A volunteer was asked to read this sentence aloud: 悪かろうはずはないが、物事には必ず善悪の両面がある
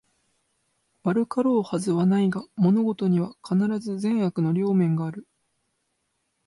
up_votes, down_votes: 2, 0